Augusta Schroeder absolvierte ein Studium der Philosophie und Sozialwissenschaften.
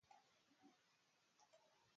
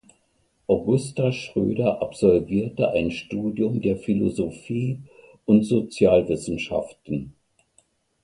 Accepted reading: second